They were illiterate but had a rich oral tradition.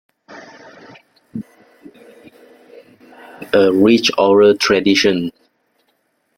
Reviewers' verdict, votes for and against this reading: rejected, 0, 2